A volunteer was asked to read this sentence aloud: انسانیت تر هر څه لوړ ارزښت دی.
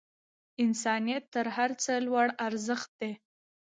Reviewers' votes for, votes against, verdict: 2, 0, accepted